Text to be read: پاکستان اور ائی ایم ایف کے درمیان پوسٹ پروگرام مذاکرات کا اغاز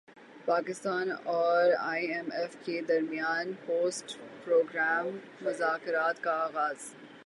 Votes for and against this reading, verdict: 3, 3, rejected